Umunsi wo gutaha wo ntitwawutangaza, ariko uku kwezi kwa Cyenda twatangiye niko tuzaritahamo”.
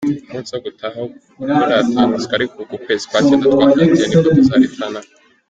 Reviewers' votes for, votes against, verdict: 2, 1, accepted